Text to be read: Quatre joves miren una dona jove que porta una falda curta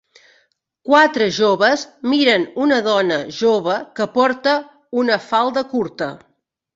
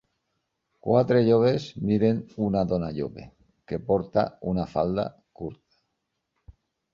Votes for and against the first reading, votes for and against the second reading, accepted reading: 3, 0, 2, 3, first